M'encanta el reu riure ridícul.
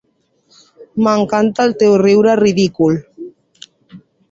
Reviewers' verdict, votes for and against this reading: rejected, 0, 2